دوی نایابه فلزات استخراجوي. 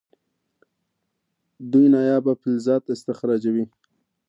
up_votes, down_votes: 2, 0